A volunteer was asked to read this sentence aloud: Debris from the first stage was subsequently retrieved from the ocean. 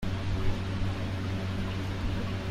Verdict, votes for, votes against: rejected, 0, 2